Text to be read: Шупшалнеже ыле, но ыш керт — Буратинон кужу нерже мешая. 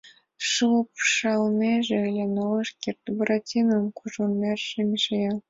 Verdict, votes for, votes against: accepted, 2, 0